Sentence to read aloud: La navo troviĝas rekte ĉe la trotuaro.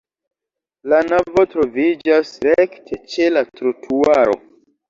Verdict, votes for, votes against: rejected, 1, 2